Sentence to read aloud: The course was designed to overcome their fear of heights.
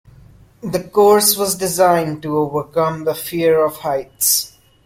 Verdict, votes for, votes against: rejected, 0, 2